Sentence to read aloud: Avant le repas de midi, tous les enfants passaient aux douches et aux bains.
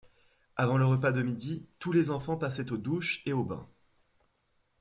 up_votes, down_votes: 2, 0